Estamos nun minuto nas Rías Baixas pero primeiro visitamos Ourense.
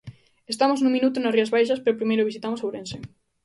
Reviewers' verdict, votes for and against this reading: accepted, 2, 0